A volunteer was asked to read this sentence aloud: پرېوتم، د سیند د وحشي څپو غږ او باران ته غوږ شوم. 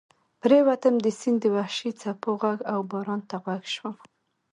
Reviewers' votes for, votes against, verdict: 3, 1, accepted